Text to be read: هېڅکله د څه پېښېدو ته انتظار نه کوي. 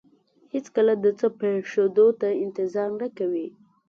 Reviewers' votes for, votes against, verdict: 2, 0, accepted